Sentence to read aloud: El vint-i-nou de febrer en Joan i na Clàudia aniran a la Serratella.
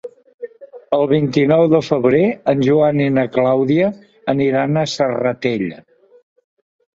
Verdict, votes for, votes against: rejected, 1, 3